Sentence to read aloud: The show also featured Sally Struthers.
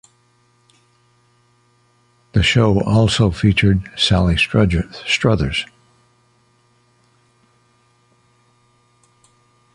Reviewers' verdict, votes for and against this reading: rejected, 0, 2